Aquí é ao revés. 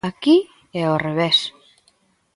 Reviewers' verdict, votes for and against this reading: accepted, 2, 0